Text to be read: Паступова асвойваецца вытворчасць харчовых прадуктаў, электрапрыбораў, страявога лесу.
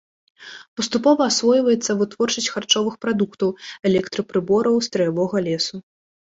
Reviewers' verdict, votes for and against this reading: accepted, 2, 0